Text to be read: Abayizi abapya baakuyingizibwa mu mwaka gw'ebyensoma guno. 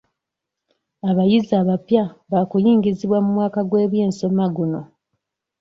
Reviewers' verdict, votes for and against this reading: accepted, 2, 0